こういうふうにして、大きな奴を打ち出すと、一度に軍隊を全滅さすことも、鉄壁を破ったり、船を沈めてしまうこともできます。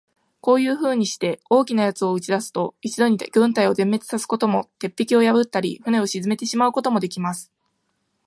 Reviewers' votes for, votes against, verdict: 2, 0, accepted